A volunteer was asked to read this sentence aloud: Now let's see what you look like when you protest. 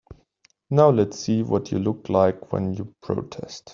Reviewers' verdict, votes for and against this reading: accepted, 2, 0